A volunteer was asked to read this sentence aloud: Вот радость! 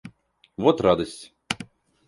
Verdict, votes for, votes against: accepted, 2, 0